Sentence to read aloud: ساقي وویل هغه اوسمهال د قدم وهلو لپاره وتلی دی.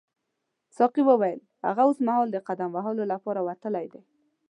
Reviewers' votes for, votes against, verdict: 2, 0, accepted